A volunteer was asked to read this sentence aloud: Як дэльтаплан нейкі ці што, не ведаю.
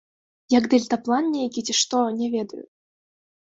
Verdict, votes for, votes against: rejected, 0, 2